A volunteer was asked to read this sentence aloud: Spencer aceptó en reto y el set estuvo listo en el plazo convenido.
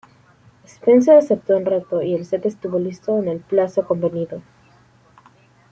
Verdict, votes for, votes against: accepted, 2, 1